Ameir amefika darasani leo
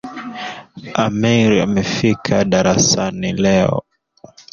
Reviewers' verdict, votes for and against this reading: rejected, 0, 2